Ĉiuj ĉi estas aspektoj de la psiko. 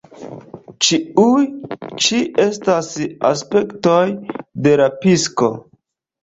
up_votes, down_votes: 0, 2